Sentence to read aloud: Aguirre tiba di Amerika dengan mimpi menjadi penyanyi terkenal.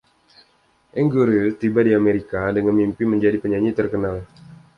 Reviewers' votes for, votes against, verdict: 2, 0, accepted